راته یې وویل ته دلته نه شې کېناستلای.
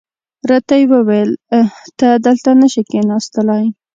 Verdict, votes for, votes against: accepted, 2, 0